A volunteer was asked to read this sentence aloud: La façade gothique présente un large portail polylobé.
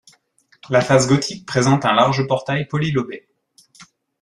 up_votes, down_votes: 1, 2